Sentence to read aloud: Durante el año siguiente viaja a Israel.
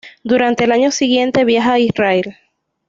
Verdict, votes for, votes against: accepted, 2, 0